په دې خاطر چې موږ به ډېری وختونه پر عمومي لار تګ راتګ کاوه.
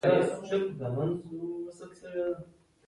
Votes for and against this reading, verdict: 0, 2, rejected